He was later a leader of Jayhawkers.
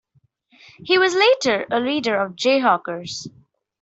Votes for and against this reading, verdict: 2, 0, accepted